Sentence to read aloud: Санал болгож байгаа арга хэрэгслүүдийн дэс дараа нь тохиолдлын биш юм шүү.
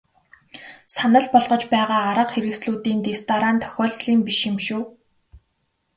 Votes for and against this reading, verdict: 2, 0, accepted